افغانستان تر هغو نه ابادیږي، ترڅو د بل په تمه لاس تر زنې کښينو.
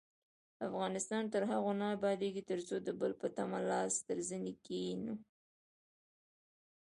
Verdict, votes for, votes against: rejected, 1, 2